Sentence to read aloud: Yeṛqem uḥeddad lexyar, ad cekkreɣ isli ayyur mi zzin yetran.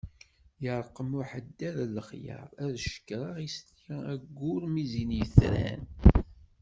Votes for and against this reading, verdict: 1, 2, rejected